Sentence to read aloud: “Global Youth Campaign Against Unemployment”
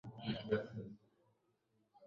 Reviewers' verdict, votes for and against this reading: rejected, 1, 2